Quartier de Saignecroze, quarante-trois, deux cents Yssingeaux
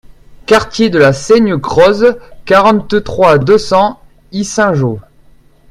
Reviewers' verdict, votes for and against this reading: rejected, 1, 2